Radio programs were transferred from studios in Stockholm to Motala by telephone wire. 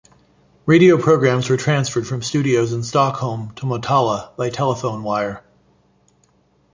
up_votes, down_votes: 2, 0